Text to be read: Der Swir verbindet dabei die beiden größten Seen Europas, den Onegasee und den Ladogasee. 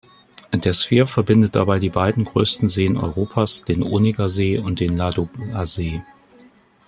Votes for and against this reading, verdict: 1, 2, rejected